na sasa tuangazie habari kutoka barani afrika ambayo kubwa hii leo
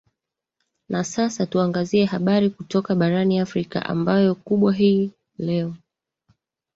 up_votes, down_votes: 2, 1